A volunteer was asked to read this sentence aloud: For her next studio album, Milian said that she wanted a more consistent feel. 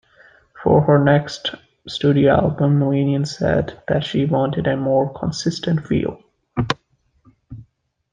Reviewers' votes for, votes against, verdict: 2, 0, accepted